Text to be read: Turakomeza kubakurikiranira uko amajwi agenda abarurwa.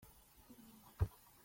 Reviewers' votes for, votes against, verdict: 0, 2, rejected